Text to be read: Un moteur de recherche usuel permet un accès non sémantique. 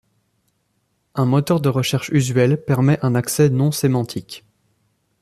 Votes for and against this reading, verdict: 2, 0, accepted